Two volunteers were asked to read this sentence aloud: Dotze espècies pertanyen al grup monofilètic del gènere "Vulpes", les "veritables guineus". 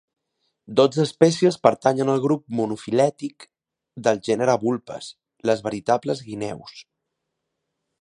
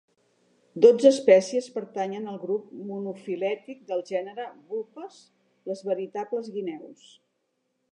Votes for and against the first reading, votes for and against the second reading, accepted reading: 2, 0, 1, 2, first